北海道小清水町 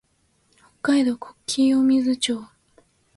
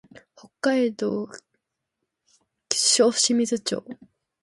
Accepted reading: first